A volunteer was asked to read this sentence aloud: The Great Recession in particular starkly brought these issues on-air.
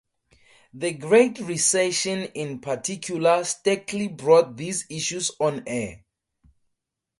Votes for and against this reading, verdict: 2, 0, accepted